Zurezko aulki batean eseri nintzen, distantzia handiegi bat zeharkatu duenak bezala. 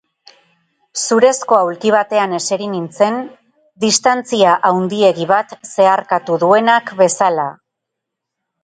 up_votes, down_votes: 10, 0